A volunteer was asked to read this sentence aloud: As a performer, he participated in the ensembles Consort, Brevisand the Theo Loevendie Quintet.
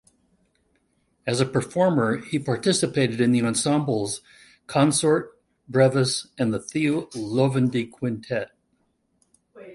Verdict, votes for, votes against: rejected, 0, 2